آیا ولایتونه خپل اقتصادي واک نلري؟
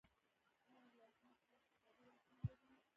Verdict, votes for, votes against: rejected, 0, 2